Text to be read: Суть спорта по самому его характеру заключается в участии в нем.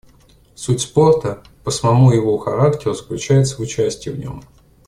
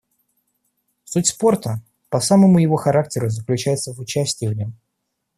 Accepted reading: first